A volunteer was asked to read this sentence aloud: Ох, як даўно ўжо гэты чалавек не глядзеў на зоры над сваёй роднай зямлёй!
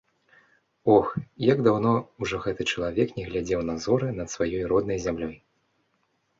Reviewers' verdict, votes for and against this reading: accepted, 2, 0